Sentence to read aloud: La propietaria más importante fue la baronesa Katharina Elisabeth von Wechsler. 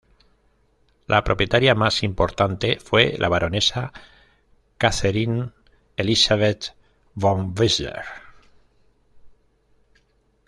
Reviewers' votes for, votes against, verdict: 1, 2, rejected